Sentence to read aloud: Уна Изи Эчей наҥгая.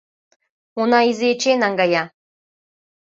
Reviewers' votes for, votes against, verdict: 2, 0, accepted